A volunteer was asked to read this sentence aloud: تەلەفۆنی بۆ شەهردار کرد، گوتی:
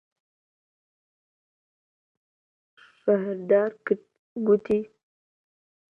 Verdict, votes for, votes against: rejected, 0, 2